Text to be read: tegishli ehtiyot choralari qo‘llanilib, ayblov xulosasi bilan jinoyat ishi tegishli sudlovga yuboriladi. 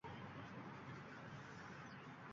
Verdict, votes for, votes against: rejected, 0, 2